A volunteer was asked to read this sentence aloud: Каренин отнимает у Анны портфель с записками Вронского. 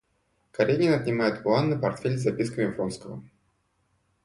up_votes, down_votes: 2, 0